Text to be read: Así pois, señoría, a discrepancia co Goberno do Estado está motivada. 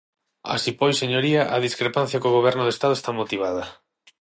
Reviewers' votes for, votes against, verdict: 6, 0, accepted